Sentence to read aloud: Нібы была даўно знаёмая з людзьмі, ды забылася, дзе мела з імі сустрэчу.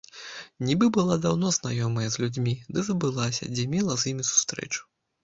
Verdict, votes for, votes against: rejected, 0, 2